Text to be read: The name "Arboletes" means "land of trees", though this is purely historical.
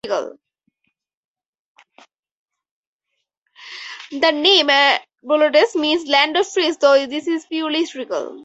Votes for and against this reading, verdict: 0, 4, rejected